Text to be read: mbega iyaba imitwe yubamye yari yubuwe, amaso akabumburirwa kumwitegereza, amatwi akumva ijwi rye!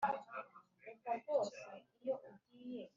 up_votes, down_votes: 0, 2